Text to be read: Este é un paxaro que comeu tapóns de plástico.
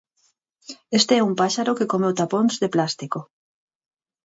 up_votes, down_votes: 2, 4